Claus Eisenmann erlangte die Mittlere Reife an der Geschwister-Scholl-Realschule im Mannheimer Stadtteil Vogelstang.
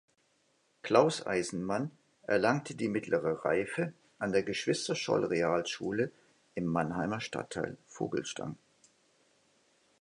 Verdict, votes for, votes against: accepted, 2, 0